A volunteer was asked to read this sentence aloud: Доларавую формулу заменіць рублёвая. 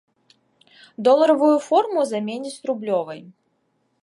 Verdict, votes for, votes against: rejected, 0, 2